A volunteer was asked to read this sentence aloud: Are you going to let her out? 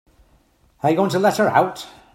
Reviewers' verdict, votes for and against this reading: accepted, 3, 0